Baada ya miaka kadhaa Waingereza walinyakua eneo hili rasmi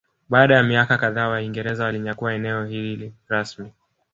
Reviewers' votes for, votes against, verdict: 0, 2, rejected